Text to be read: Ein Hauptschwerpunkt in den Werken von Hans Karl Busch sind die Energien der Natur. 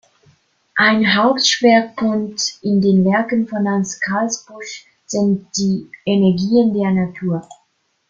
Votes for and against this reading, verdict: 1, 2, rejected